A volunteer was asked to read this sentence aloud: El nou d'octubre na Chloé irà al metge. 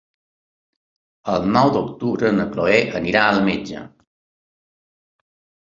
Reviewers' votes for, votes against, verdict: 0, 2, rejected